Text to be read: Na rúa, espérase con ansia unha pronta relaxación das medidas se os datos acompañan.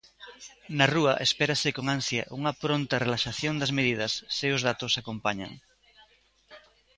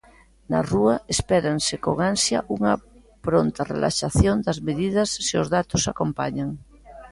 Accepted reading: first